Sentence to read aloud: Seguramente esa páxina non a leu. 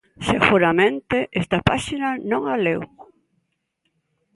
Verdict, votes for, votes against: rejected, 0, 2